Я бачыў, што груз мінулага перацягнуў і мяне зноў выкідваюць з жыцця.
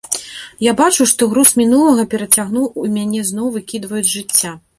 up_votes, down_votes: 0, 2